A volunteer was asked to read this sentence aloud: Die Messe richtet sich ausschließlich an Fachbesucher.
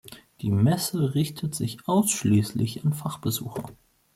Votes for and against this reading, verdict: 3, 0, accepted